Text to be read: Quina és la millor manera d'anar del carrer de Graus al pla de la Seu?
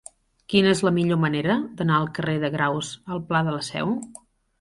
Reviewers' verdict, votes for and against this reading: rejected, 0, 2